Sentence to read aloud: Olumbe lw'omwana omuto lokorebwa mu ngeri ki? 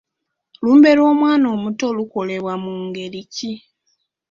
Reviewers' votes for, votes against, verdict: 2, 1, accepted